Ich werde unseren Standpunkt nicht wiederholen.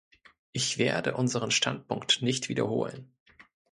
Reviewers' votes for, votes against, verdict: 2, 0, accepted